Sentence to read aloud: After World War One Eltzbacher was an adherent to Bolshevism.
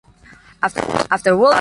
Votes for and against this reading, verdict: 0, 2, rejected